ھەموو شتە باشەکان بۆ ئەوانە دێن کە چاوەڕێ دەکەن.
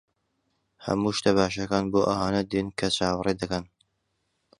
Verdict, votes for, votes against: accepted, 2, 0